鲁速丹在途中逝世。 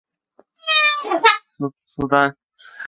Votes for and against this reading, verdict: 1, 2, rejected